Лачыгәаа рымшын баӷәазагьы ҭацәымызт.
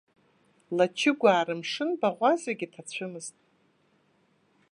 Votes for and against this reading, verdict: 2, 0, accepted